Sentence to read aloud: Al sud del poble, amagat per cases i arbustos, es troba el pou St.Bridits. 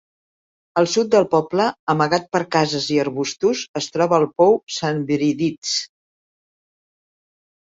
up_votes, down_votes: 2, 0